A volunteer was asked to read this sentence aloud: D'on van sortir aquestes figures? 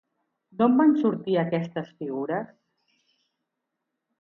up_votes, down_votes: 2, 0